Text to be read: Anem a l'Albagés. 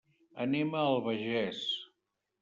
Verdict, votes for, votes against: rejected, 0, 2